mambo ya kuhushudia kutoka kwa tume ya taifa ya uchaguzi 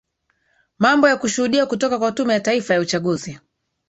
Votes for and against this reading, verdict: 2, 3, rejected